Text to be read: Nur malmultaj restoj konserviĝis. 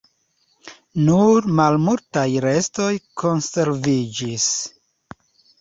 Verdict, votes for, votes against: accepted, 2, 0